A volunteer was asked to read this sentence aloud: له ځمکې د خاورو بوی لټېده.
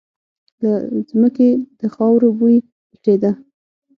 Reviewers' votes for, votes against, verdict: 6, 0, accepted